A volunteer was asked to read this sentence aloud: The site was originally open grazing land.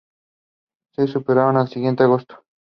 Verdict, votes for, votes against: accepted, 2, 1